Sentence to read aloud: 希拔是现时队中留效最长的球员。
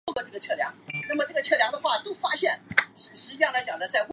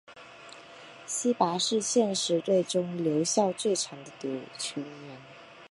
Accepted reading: second